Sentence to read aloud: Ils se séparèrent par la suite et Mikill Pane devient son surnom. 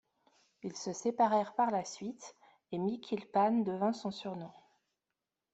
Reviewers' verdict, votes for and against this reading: rejected, 0, 2